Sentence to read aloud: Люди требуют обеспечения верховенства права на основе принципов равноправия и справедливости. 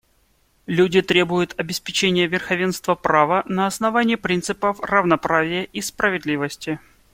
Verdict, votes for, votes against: rejected, 0, 2